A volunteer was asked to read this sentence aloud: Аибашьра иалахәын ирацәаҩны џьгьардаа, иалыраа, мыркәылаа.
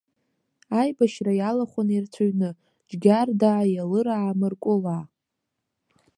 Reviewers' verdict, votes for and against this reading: rejected, 1, 2